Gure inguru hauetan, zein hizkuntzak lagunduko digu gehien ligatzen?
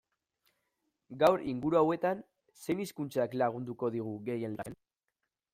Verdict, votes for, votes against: rejected, 0, 3